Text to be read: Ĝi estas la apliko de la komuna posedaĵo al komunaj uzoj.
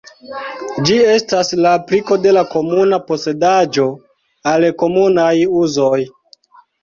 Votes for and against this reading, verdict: 0, 2, rejected